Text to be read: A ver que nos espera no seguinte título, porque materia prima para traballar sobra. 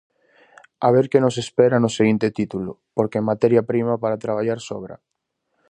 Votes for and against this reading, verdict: 4, 0, accepted